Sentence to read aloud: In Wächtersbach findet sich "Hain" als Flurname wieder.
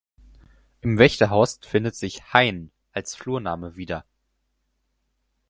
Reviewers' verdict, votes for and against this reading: rejected, 0, 4